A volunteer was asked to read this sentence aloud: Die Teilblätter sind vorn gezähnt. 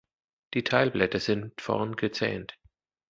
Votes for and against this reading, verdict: 2, 0, accepted